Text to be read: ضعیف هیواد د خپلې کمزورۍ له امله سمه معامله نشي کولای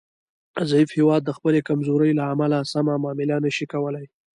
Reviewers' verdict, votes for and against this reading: rejected, 1, 2